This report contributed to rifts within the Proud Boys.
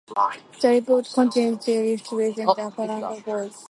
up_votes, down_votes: 0, 2